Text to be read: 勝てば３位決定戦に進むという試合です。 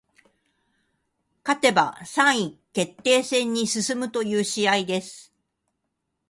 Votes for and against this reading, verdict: 0, 2, rejected